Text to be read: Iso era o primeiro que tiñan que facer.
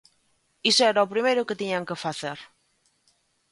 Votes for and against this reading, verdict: 2, 0, accepted